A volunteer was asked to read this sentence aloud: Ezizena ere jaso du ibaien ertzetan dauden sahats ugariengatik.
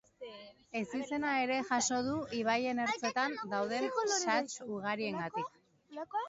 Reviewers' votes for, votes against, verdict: 1, 2, rejected